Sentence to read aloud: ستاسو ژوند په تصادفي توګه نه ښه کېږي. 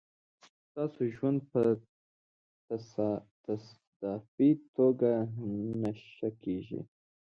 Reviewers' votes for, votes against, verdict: 1, 2, rejected